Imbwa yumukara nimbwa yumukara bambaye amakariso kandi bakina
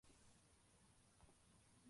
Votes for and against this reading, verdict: 0, 2, rejected